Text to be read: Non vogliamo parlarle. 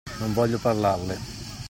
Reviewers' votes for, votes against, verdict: 0, 2, rejected